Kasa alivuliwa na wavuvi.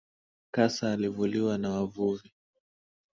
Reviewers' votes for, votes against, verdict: 2, 0, accepted